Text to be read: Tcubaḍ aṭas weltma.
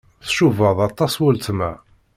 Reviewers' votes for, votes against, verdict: 2, 0, accepted